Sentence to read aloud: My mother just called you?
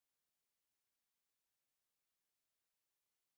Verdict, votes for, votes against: rejected, 0, 3